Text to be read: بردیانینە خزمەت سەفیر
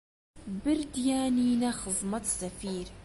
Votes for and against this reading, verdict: 2, 0, accepted